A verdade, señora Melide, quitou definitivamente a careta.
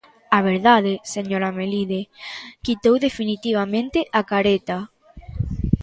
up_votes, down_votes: 2, 0